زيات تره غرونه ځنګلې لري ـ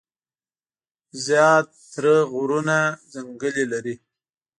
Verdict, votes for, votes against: rejected, 1, 2